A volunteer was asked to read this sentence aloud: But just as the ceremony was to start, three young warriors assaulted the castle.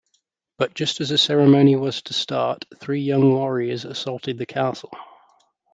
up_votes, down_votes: 2, 0